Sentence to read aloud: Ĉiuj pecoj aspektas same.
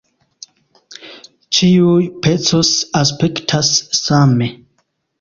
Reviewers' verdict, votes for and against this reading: rejected, 0, 2